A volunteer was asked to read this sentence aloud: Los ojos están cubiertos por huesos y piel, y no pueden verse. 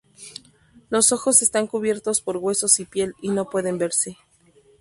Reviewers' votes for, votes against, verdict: 2, 0, accepted